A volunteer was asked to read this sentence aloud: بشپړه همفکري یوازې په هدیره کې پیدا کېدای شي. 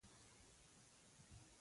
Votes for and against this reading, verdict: 0, 2, rejected